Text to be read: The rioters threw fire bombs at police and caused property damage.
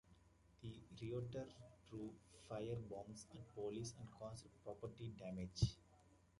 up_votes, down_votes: 0, 2